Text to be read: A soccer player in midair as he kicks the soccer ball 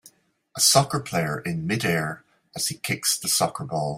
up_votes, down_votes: 2, 0